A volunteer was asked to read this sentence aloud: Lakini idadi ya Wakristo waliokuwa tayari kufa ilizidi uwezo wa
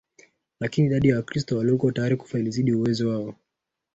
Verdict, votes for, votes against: rejected, 0, 2